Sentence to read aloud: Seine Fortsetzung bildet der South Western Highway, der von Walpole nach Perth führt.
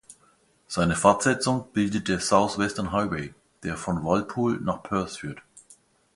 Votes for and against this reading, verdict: 2, 0, accepted